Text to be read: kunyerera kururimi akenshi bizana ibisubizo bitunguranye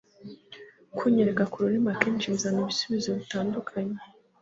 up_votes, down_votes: 1, 2